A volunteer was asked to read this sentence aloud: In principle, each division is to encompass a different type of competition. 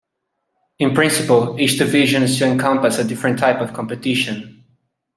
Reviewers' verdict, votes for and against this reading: accepted, 2, 1